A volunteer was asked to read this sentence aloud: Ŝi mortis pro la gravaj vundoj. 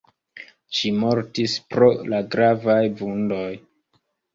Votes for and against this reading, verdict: 2, 0, accepted